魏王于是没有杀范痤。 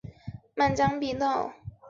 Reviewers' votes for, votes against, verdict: 0, 2, rejected